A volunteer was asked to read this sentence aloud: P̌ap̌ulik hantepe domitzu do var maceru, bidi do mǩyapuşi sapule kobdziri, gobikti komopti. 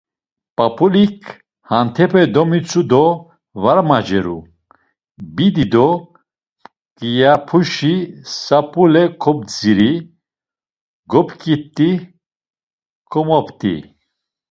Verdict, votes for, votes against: rejected, 1, 2